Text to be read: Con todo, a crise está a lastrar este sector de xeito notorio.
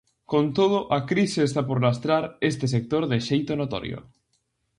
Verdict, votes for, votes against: rejected, 0, 2